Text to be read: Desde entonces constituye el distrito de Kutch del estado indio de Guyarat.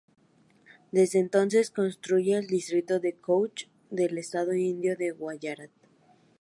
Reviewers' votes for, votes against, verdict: 0, 2, rejected